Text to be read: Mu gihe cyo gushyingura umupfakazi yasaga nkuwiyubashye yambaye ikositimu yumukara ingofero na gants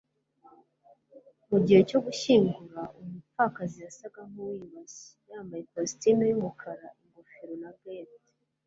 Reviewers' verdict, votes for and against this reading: accepted, 2, 0